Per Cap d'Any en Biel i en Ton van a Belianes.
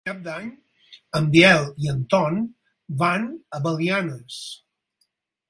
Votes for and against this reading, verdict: 2, 4, rejected